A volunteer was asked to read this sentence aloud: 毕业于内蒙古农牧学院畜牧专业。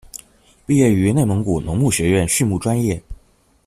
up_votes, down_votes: 2, 0